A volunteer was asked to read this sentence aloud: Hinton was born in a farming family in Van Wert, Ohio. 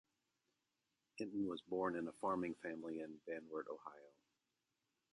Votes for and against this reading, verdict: 0, 2, rejected